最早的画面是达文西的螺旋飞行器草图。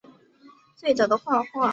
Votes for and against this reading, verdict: 0, 4, rejected